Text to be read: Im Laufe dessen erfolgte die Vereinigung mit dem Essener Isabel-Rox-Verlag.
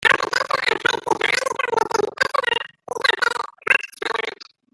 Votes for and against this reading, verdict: 0, 2, rejected